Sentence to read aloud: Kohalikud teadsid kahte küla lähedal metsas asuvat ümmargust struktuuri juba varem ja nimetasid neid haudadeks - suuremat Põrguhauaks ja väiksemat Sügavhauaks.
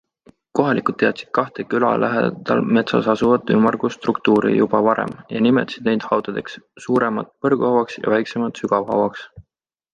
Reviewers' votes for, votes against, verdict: 2, 0, accepted